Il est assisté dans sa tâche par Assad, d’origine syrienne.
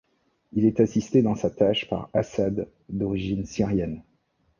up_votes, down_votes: 2, 0